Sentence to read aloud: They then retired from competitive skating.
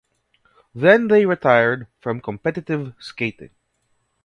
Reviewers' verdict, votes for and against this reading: rejected, 0, 2